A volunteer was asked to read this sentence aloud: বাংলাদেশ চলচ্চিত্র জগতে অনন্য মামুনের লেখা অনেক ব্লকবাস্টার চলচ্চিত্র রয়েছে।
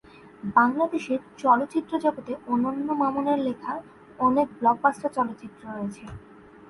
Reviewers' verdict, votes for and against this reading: rejected, 1, 2